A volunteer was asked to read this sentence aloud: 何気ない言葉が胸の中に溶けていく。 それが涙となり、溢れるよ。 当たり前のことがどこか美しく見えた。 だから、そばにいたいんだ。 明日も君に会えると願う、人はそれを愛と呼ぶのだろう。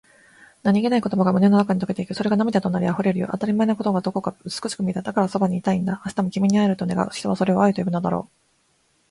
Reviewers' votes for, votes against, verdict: 1, 2, rejected